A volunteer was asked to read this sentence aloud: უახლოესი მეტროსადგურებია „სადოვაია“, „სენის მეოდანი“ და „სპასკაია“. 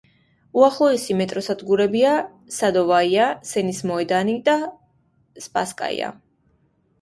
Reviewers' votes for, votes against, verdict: 2, 0, accepted